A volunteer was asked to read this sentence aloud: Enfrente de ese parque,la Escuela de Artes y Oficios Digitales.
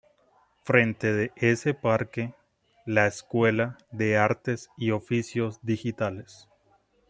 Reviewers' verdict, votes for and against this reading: rejected, 0, 2